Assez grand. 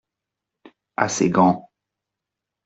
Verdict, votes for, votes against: accepted, 2, 0